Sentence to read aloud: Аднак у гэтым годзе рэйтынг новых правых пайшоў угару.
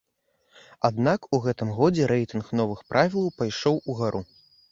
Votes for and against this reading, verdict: 0, 2, rejected